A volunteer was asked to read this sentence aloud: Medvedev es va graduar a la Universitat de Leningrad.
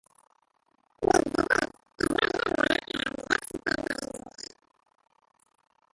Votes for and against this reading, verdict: 0, 2, rejected